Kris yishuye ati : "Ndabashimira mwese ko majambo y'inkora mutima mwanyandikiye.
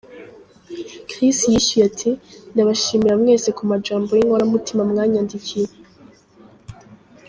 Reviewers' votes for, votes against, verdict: 0, 2, rejected